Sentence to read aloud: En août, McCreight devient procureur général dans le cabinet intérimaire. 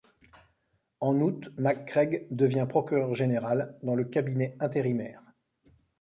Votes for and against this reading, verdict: 1, 2, rejected